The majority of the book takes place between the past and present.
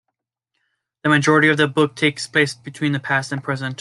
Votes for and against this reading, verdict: 2, 0, accepted